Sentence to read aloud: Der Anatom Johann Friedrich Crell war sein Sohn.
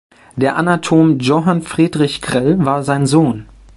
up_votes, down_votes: 0, 2